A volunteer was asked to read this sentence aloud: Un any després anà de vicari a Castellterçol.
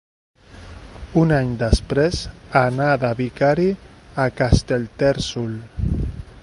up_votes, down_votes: 0, 2